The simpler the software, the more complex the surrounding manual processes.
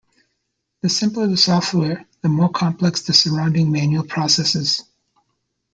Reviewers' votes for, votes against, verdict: 2, 0, accepted